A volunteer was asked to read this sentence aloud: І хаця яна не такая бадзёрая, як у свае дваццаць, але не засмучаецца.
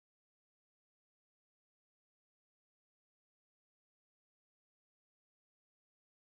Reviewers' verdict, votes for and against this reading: rejected, 0, 3